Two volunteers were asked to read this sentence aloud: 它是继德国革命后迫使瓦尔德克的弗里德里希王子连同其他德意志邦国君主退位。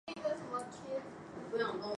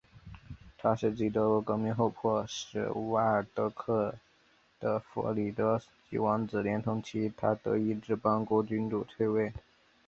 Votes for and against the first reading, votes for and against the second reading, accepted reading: 0, 2, 2, 0, second